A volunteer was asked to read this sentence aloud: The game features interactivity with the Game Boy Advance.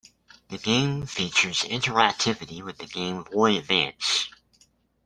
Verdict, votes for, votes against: accepted, 2, 1